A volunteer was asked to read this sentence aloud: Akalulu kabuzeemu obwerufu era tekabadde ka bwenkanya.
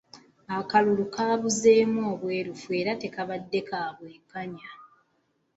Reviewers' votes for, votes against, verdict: 2, 0, accepted